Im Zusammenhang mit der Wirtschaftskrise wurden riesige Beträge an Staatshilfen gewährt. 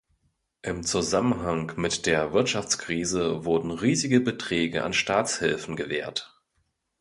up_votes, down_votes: 2, 0